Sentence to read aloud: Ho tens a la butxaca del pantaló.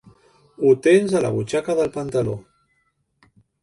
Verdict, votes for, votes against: accepted, 3, 0